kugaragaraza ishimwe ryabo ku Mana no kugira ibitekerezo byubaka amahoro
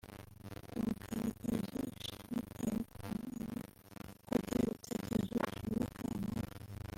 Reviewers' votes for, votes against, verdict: 0, 2, rejected